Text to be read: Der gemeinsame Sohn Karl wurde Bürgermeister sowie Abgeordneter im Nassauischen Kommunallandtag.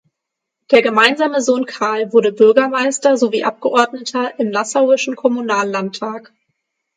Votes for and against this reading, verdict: 6, 0, accepted